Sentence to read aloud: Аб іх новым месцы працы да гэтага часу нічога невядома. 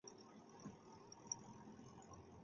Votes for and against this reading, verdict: 0, 2, rejected